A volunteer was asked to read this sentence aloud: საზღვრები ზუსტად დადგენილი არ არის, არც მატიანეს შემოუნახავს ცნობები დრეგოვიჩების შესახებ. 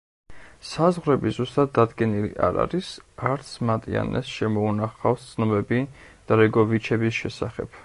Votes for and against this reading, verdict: 2, 0, accepted